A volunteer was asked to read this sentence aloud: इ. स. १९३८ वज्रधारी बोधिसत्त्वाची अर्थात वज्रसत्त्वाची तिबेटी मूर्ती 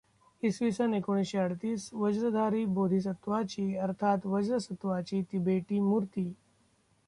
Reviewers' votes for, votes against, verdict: 0, 2, rejected